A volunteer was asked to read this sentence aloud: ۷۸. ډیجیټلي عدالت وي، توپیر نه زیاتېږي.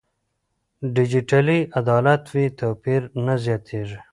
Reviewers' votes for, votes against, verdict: 0, 2, rejected